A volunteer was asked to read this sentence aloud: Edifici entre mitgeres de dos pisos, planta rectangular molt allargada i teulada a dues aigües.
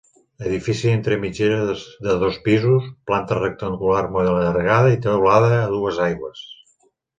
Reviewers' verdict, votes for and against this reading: rejected, 1, 2